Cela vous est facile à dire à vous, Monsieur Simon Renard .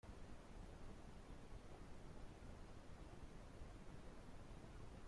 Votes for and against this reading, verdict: 0, 2, rejected